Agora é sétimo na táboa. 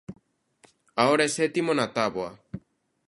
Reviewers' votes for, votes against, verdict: 2, 1, accepted